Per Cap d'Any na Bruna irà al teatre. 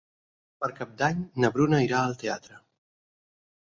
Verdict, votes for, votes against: accepted, 10, 0